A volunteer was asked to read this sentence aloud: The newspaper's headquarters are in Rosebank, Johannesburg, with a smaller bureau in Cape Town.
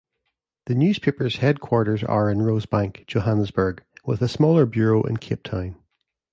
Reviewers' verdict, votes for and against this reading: accepted, 2, 1